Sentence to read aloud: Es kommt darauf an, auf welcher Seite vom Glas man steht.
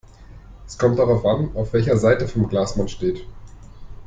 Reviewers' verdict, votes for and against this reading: accepted, 2, 0